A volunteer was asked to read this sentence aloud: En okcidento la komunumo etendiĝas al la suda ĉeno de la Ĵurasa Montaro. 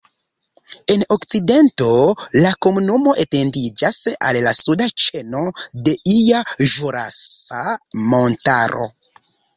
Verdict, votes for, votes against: rejected, 0, 2